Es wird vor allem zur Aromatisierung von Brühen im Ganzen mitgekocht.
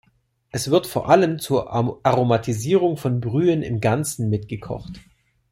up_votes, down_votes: 1, 2